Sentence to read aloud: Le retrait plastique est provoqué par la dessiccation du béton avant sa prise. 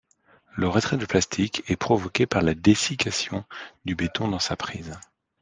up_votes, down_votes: 1, 2